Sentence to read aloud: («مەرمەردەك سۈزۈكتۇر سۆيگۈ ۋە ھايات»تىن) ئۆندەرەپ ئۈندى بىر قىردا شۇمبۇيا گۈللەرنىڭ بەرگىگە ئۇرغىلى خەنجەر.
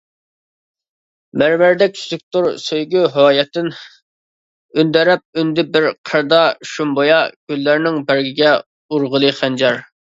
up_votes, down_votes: 1, 2